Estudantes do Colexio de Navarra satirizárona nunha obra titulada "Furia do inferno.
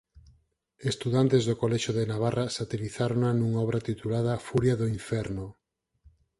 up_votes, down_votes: 4, 0